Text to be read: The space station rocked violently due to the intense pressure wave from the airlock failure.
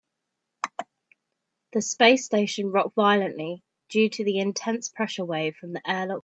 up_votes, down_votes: 0, 2